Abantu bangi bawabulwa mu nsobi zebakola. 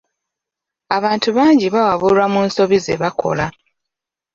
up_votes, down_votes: 2, 0